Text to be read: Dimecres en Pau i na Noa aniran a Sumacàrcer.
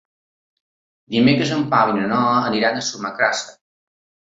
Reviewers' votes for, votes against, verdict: 2, 0, accepted